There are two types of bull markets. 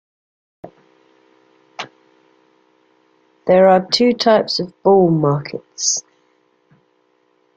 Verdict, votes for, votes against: accepted, 2, 0